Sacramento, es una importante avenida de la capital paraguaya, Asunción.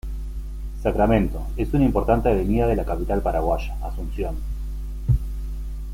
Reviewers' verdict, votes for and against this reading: rejected, 0, 2